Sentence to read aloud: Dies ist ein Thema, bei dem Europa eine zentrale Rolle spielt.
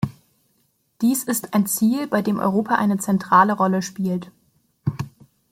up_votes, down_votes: 0, 2